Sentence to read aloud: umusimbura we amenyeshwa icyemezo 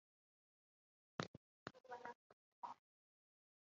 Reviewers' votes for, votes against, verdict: 1, 2, rejected